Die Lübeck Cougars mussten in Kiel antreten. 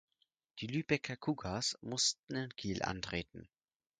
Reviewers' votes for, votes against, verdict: 0, 4, rejected